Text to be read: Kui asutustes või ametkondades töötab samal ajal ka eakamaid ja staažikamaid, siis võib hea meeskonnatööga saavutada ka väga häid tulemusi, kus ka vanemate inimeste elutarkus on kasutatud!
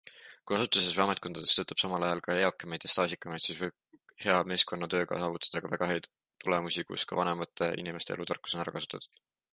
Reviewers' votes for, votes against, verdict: 1, 2, rejected